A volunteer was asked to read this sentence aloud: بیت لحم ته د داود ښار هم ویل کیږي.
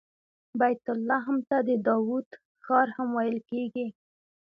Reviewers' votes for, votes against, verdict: 2, 0, accepted